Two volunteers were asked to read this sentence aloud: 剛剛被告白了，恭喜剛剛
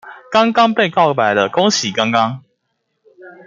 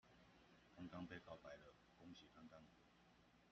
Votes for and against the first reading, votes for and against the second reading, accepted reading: 2, 0, 0, 2, first